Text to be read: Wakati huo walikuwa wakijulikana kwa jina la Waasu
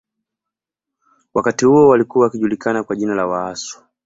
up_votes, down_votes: 2, 0